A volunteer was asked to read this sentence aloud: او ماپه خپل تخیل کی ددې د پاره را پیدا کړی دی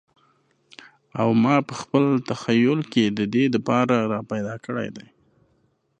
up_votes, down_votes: 2, 0